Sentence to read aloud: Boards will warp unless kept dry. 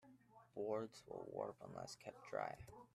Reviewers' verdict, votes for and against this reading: accepted, 2, 1